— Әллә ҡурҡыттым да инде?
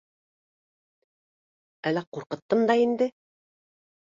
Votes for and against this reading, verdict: 2, 0, accepted